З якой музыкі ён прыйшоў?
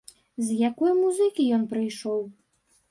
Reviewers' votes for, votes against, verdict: 0, 2, rejected